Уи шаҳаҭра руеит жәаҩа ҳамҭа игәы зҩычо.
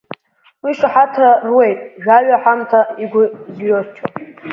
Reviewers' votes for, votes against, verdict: 1, 2, rejected